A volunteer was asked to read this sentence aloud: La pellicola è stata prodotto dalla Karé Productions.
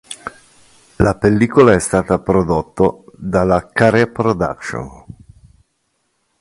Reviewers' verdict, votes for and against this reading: accepted, 3, 0